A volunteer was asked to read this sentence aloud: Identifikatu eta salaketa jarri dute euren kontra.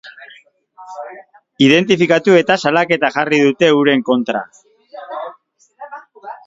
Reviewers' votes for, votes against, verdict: 2, 0, accepted